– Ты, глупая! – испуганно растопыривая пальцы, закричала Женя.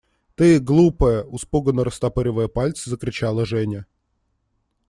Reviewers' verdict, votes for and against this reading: rejected, 1, 2